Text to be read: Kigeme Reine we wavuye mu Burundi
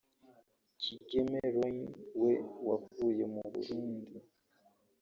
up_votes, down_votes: 0, 2